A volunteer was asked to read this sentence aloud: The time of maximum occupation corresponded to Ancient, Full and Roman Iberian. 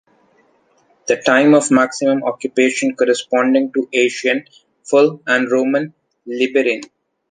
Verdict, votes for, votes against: rejected, 0, 3